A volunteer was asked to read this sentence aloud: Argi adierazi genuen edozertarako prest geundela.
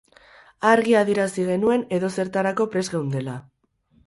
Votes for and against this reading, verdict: 0, 4, rejected